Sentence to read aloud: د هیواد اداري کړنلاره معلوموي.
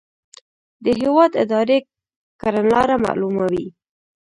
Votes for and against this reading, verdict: 3, 0, accepted